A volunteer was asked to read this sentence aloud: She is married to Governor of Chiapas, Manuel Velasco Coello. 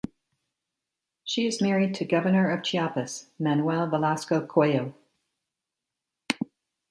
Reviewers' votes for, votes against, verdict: 3, 0, accepted